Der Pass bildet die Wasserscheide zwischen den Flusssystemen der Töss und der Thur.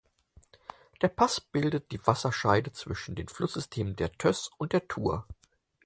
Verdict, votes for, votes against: accepted, 4, 0